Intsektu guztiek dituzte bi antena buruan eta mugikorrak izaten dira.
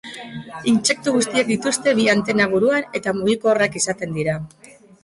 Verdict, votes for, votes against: accepted, 2, 1